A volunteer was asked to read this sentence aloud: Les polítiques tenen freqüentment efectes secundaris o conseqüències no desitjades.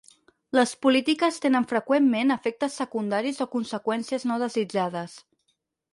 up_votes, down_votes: 4, 0